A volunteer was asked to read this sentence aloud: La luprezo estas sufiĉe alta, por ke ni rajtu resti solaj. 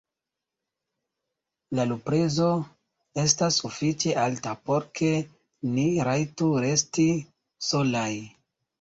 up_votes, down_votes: 1, 2